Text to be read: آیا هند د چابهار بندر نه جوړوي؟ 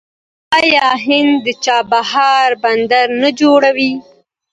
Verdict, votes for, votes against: accepted, 2, 0